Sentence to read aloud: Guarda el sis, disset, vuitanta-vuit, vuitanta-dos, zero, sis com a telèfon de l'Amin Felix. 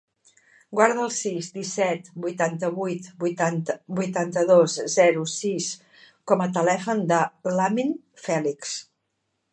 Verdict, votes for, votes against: rejected, 0, 2